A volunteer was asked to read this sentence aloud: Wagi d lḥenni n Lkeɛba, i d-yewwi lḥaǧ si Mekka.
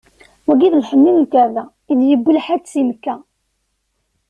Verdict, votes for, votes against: accepted, 2, 0